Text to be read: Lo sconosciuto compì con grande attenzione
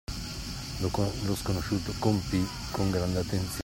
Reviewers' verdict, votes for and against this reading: rejected, 0, 2